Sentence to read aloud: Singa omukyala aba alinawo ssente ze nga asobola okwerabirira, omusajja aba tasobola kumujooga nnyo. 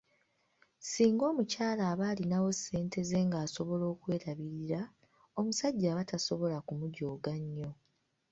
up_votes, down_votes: 0, 2